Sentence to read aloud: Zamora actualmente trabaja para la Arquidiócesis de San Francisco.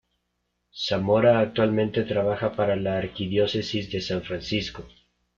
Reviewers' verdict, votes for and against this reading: accepted, 2, 0